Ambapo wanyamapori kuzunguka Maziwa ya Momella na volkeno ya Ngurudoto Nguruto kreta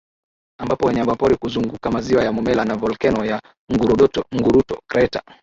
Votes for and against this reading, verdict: 18, 2, accepted